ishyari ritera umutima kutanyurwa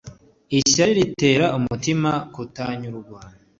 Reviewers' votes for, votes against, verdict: 2, 0, accepted